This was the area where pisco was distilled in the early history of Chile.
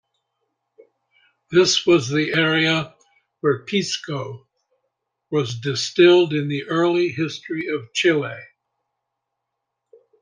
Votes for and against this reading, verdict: 2, 0, accepted